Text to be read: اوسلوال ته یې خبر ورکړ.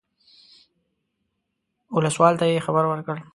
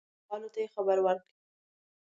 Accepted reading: first